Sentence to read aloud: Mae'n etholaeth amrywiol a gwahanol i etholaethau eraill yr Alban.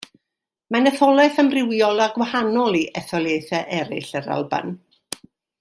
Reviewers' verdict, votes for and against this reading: rejected, 0, 2